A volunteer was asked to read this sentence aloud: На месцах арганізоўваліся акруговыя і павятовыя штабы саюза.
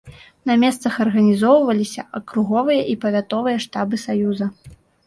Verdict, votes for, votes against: accepted, 2, 0